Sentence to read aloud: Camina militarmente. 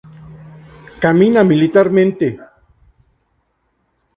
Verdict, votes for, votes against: accepted, 2, 0